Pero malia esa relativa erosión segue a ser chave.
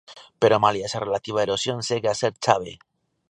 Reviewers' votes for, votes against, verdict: 2, 0, accepted